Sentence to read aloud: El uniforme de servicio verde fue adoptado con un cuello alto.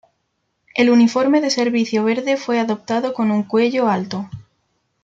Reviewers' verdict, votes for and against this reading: accepted, 2, 0